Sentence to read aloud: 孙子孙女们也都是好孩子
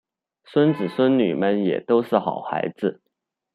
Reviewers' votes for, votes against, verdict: 1, 2, rejected